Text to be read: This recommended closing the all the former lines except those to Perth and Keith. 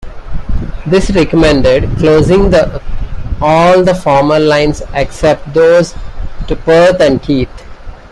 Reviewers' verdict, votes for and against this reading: rejected, 1, 2